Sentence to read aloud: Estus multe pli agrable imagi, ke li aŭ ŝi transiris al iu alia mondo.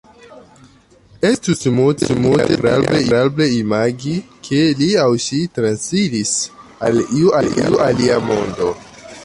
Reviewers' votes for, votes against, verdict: 0, 2, rejected